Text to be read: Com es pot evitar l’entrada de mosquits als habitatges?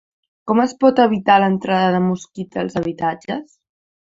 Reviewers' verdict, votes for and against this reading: accepted, 2, 1